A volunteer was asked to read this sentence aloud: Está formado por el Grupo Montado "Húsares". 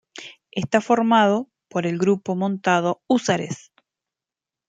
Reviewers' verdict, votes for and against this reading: accepted, 2, 0